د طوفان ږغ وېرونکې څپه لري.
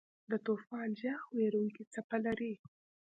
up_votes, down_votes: 2, 0